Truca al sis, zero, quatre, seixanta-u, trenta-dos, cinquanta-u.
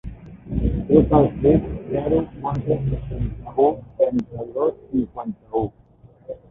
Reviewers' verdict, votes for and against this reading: rejected, 3, 4